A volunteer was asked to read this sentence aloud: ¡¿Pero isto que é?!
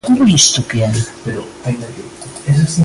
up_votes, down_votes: 1, 2